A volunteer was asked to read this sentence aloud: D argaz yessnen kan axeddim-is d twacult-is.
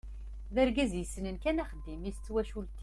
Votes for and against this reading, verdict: 1, 2, rejected